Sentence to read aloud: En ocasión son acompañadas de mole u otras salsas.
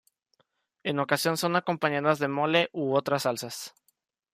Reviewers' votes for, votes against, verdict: 1, 2, rejected